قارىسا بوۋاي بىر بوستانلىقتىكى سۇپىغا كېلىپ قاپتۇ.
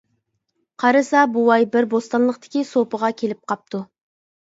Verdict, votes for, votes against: accepted, 2, 0